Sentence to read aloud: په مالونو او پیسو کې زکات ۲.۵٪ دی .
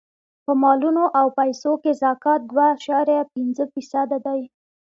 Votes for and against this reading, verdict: 0, 2, rejected